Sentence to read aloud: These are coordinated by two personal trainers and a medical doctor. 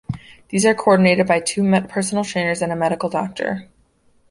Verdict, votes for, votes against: rejected, 1, 2